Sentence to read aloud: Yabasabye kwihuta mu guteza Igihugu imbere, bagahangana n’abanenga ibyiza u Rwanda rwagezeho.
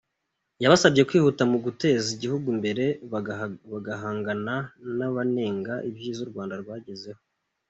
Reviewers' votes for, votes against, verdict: 2, 0, accepted